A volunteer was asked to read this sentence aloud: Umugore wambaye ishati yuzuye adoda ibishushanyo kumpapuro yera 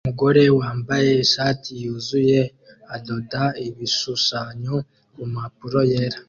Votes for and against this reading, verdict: 2, 1, accepted